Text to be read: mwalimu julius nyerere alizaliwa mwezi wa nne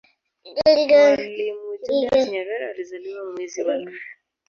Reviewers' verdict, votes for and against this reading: rejected, 1, 4